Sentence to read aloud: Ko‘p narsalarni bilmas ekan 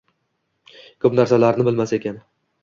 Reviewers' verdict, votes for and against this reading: accepted, 2, 0